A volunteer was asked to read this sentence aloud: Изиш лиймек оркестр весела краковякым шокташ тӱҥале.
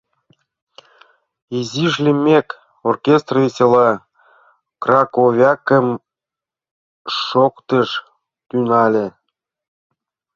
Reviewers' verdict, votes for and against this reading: rejected, 0, 2